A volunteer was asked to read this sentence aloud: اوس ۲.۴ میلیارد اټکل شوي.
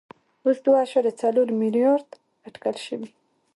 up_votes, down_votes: 0, 2